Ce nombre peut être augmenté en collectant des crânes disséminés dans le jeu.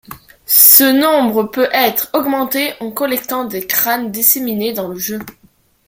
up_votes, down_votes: 2, 0